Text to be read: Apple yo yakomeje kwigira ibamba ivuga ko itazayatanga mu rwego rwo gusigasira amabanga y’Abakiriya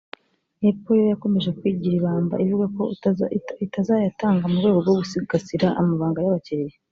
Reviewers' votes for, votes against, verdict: 0, 3, rejected